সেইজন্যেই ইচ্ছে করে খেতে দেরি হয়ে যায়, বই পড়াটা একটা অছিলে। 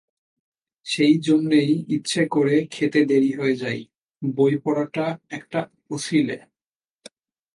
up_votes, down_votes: 2, 0